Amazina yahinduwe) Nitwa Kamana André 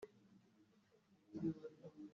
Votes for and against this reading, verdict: 0, 2, rejected